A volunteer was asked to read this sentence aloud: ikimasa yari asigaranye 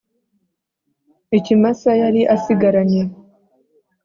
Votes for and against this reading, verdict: 3, 0, accepted